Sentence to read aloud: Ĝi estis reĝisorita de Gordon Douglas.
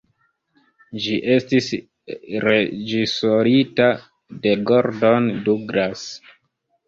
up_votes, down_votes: 0, 2